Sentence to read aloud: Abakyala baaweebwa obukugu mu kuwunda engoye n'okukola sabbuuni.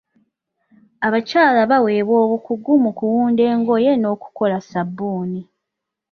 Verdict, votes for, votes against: accepted, 2, 0